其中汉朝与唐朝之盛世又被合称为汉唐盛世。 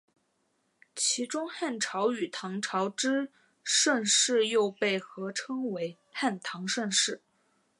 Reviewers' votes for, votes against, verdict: 3, 1, accepted